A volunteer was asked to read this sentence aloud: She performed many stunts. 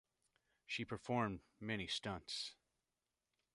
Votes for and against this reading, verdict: 2, 0, accepted